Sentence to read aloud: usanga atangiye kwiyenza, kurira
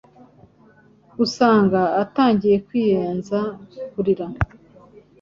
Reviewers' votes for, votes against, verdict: 3, 0, accepted